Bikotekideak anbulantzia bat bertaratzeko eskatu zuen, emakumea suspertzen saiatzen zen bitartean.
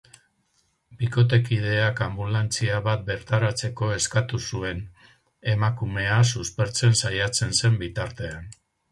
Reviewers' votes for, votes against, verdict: 0, 2, rejected